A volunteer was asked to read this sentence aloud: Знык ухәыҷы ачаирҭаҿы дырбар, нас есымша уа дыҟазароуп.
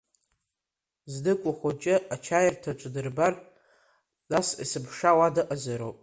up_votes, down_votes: 1, 2